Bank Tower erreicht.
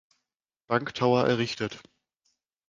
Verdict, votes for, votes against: rejected, 0, 2